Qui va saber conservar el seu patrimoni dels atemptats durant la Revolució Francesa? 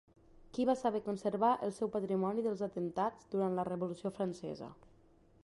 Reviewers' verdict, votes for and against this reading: accepted, 2, 0